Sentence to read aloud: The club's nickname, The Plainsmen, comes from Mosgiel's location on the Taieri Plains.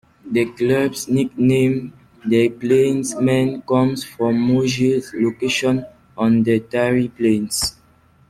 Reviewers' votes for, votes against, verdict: 1, 2, rejected